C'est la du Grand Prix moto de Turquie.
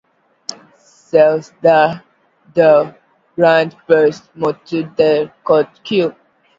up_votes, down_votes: 0, 2